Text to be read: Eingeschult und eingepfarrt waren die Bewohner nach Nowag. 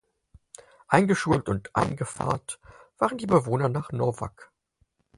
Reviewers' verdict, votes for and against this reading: accepted, 4, 2